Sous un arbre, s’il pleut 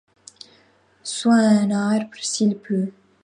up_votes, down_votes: 1, 2